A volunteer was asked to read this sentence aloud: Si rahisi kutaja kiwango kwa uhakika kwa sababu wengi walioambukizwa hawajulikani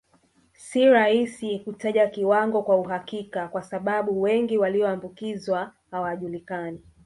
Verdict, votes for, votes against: rejected, 0, 2